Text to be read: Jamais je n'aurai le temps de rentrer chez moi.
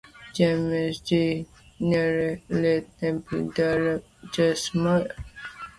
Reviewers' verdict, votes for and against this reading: rejected, 1, 2